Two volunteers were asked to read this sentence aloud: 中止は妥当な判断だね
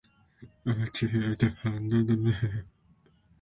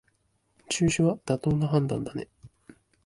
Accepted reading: second